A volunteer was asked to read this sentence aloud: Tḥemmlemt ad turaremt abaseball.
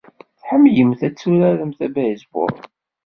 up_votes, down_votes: 2, 0